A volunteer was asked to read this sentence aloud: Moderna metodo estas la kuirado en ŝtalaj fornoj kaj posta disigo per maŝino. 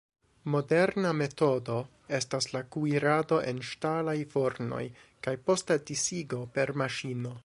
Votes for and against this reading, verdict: 2, 0, accepted